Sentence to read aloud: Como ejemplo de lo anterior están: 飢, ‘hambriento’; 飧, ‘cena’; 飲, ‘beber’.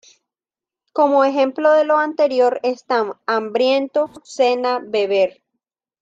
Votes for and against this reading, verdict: 2, 1, accepted